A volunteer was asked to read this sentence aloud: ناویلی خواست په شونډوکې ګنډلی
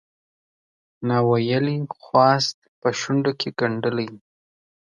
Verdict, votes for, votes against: rejected, 1, 2